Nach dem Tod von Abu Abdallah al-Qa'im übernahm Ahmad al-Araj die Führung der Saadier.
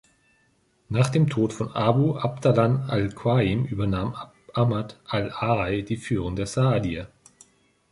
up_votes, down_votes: 0, 3